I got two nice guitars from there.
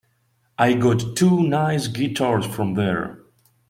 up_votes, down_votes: 2, 1